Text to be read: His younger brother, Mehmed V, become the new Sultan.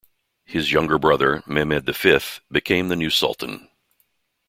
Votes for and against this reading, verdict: 0, 2, rejected